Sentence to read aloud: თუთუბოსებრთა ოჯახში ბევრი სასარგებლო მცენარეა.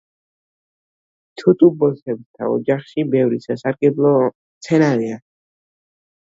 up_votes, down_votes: 0, 2